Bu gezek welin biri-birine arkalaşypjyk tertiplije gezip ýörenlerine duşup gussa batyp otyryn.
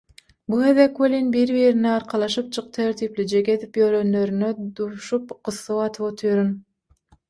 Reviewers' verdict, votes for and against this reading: rejected, 0, 3